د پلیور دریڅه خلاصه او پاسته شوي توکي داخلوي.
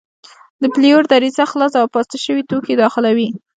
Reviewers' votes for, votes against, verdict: 0, 2, rejected